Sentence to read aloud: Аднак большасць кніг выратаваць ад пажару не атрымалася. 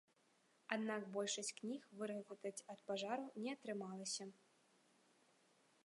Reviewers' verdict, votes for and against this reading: accepted, 2, 0